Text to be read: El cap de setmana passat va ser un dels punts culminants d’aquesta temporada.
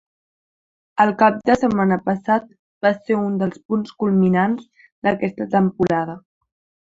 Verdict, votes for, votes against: accepted, 3, 0